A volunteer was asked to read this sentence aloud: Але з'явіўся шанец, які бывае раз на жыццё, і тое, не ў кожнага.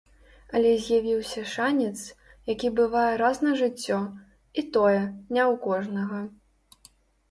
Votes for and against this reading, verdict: 2, 0, accepted